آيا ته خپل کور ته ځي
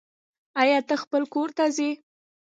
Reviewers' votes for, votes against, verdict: 2, 1, accepted